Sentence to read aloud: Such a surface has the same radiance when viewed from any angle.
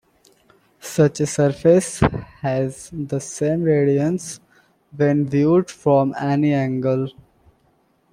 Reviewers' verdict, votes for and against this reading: accepted, 2, 1